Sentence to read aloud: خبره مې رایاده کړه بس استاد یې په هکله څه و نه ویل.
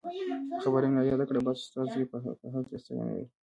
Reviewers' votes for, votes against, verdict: 1, 2, rejected